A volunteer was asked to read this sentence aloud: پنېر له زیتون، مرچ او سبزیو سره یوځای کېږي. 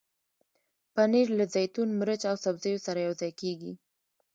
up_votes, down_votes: 1, 2